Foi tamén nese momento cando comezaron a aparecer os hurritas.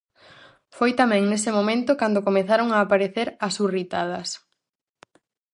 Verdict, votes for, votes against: rejected, 0, 4